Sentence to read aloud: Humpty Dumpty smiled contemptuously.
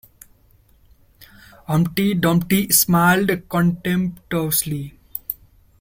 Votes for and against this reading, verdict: 0, 2, rejected